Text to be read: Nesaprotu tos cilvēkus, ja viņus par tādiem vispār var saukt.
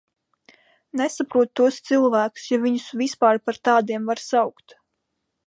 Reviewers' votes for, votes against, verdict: 1, 2, rejected